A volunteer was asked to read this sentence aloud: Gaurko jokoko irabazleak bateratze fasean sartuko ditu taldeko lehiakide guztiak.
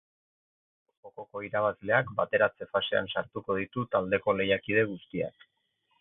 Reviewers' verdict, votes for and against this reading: accepted, 4, 2